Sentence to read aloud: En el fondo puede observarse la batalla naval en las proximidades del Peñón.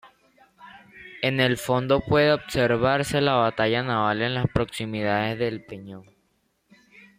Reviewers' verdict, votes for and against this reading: accepted, 2, 1